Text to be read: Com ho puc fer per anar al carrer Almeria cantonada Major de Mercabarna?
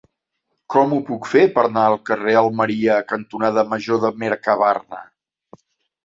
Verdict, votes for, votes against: rejected, 1, 2